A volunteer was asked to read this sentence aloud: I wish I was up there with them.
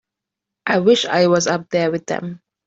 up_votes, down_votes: 2, 0